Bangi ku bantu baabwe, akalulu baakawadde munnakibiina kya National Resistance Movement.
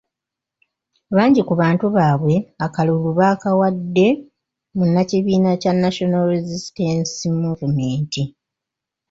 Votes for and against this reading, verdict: 2, 1, accepted